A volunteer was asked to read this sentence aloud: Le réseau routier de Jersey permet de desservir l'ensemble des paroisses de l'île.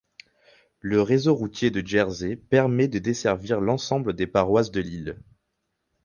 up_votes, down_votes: 4, 0